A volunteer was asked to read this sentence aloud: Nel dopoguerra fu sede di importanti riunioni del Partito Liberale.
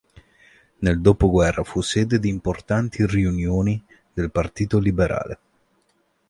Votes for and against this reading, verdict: 2, 0, accepted